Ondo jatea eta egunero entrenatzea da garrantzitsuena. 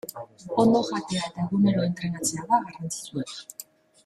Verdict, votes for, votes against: rejected, 1, 2